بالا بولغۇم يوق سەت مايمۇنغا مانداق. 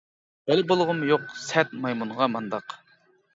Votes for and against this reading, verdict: 2, 0, accepted